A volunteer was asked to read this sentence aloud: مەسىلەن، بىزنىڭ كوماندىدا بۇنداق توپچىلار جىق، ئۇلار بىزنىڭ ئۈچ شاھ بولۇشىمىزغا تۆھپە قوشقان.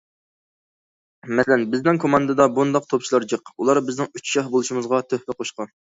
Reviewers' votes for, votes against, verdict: 2, 0, accepted